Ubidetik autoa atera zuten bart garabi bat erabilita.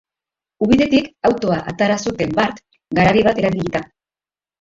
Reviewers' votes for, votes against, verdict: 3, 2, accepted